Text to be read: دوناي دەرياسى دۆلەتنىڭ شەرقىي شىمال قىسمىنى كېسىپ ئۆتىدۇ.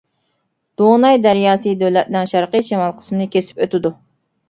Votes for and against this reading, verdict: 2, 0, accepted